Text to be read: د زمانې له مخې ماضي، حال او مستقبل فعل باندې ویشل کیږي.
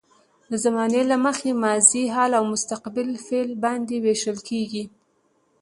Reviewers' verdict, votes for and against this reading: accepted, 2, 0